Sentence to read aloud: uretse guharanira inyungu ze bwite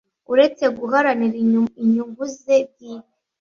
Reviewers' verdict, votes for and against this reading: rejected, 1, 2